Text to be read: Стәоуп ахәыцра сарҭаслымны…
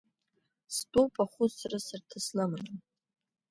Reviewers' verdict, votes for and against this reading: accepted, 2, 1